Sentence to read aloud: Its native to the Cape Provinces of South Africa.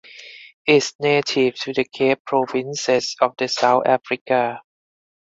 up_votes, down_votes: 0, 4